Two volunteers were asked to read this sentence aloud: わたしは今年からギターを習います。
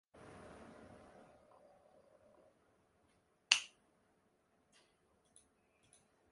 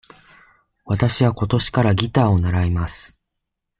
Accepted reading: second